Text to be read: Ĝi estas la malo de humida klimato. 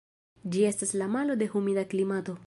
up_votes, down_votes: 2, 1